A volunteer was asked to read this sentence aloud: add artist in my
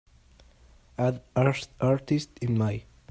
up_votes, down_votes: 1, 2